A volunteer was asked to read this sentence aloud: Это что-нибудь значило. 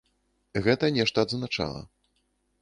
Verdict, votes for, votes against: rejected, 0, 2